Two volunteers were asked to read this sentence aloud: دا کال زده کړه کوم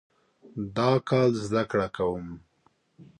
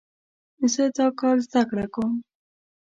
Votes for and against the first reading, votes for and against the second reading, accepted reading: 2, 0, 0, 2, first